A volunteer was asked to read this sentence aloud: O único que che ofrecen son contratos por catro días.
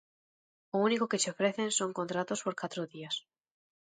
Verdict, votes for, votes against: accepted, 2, 0